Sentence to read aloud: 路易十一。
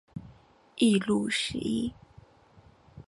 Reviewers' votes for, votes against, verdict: 1, 2, rejected